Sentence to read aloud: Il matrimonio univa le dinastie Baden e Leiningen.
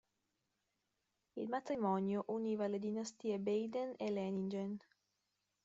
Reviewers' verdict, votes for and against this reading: accepted, 2, 0